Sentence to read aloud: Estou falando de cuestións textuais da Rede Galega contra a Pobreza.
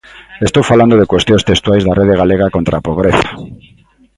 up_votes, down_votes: 2, 0